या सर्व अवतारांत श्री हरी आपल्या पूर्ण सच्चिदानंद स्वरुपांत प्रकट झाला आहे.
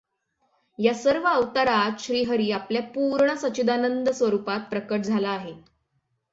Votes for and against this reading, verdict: 6, 0, accepted